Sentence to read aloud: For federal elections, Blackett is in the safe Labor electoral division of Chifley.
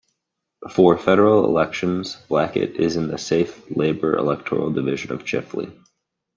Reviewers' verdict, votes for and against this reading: accepted, 2, 0